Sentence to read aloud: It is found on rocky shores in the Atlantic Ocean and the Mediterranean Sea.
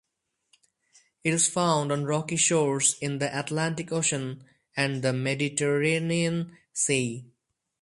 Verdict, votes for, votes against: accepted, 4, 0